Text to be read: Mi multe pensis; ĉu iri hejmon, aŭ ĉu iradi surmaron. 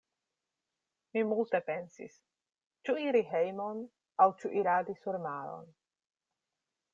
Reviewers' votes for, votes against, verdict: 2, 0, accepted